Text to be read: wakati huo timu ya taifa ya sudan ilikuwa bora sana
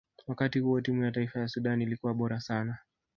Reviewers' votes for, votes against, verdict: 2, 1, accepted